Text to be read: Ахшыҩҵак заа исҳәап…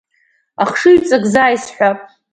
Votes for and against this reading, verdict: 2, 0, accepted